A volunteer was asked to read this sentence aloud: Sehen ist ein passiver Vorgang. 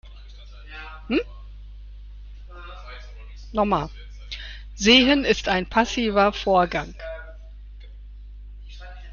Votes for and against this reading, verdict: 0, 2, rejected